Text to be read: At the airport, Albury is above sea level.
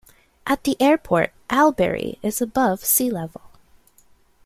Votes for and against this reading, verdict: 2, 1, accepted